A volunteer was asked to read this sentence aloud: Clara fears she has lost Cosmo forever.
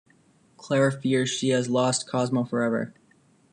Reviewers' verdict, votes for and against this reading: accepted, 3, 0